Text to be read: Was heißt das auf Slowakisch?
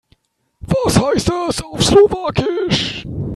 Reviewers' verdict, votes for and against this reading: rejected, 2, 3